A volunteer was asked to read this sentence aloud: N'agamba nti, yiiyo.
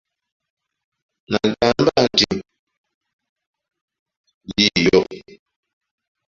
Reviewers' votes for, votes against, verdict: 0, 2, rejected